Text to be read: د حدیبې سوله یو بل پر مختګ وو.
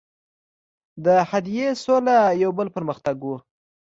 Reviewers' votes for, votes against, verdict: 2, 0, accepted